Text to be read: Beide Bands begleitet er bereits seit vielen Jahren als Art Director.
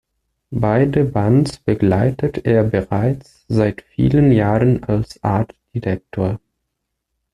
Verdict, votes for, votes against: accepted, 2, 0